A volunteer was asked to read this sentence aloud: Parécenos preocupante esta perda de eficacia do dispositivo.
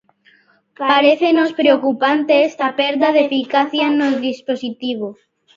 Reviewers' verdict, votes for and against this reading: rejected, 0, 2